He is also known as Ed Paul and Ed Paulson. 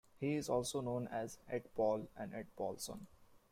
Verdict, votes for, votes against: accepted, 2, 0